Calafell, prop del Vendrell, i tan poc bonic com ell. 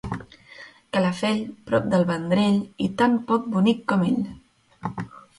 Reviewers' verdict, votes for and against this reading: accepted, 2, 0